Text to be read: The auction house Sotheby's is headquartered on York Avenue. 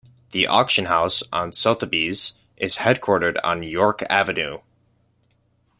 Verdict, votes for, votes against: rejected, 0, 2